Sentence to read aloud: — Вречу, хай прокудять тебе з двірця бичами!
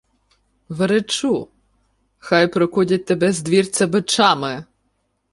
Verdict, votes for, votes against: accepted, 2, 1